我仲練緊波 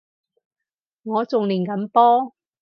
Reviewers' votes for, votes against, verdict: 4, 0, accepted